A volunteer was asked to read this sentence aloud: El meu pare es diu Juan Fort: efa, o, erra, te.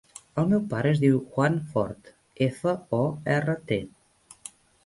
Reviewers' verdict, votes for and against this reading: accepted, 2, 0